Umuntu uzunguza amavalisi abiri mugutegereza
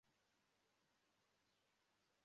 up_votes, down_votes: 0, 2